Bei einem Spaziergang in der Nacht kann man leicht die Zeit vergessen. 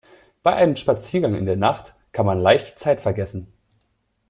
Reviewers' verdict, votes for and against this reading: accepted, 2, 0